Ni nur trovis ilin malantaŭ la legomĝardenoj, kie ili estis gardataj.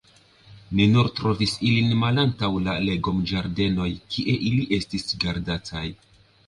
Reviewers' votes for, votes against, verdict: 2, 0, accepted